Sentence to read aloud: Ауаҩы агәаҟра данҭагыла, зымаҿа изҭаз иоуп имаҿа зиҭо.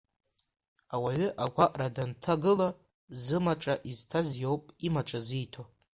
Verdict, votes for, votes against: accepted, 2, 1